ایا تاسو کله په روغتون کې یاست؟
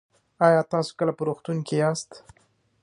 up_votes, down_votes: 2, 1